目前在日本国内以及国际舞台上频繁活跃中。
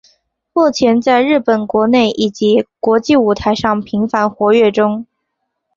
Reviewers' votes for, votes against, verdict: 7, 0, accepted